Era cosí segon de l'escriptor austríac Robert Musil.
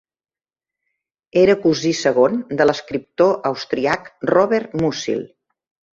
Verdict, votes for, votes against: rejected, 1, 2